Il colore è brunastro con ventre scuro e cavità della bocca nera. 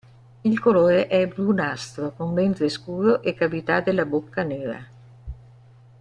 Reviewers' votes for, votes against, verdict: 2, 0, accepted